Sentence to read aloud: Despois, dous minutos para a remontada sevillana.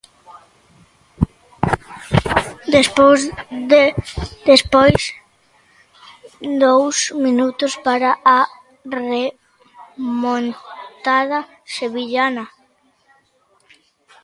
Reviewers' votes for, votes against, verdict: 0, 2, rejected